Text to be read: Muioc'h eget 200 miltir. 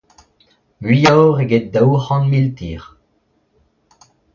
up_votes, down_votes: 0, 2